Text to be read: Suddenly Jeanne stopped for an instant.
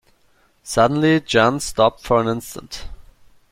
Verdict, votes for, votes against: rejected, 0, 2